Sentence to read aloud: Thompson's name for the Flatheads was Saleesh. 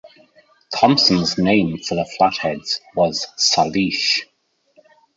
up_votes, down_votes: 1, 2